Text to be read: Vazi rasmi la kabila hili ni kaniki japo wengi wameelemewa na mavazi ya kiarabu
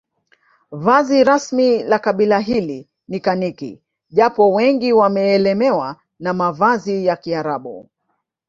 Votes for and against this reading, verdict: 3, 0, accepted